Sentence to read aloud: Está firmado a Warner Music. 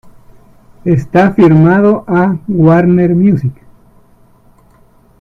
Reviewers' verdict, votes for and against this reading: accepted, 2, 1